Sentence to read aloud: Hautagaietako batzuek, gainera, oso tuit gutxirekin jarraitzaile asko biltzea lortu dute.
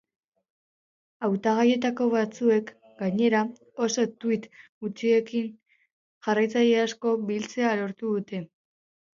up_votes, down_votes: 4, 0